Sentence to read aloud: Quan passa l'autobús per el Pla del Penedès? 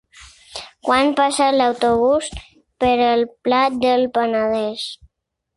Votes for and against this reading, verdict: 4, 2, accepted